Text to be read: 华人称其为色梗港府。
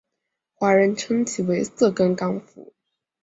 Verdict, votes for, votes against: accepted, 5, 0